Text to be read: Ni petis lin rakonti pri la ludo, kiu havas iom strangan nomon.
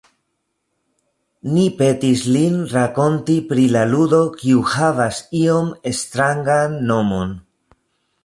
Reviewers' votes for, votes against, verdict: 1, 2, rejected